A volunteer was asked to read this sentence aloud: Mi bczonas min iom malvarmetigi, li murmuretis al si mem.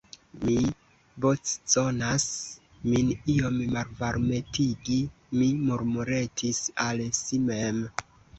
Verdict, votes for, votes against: rejected, 1, 2